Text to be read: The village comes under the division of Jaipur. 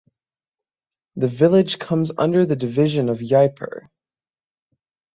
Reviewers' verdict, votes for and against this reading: rejected, 0, 6